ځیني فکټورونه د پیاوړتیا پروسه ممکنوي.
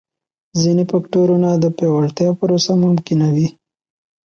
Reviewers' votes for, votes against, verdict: 2, 0, accepted